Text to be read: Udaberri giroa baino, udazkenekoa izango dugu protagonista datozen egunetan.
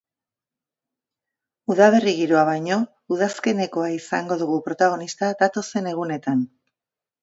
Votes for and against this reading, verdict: 2, 0, accepted